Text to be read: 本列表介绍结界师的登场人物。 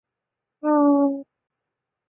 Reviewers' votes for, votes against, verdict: 0, 2, rejected